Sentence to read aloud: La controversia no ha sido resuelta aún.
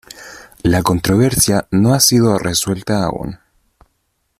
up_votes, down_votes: 2, 0